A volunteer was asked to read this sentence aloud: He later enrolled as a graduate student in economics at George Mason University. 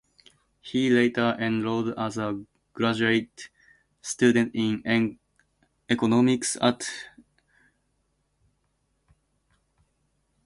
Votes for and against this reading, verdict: 0, 2, rejected